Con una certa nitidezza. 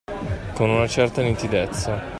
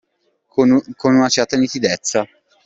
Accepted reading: first